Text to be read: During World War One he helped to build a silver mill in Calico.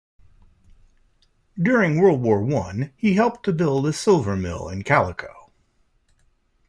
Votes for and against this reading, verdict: 1, 2, rejected